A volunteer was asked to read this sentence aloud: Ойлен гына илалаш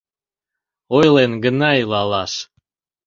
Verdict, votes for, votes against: accepted, 2, 0